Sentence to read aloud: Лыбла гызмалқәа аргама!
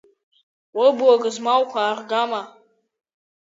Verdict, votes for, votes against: rejected, 1, 2